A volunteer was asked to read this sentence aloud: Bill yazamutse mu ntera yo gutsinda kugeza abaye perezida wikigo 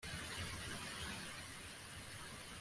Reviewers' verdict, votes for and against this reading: rejected, 0, 2